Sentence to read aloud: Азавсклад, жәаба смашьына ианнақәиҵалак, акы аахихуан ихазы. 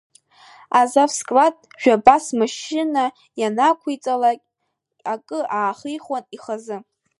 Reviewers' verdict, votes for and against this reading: rejected, 1, 2